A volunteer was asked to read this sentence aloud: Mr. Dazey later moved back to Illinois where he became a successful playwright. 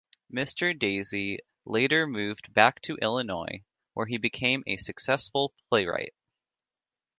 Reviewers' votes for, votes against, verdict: 2, 0, accepted